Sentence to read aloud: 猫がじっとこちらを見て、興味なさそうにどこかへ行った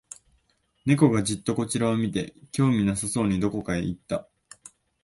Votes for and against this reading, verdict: 2, 0, accepted